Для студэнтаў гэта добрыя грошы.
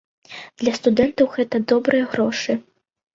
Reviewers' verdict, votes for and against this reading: accepted, 2, 0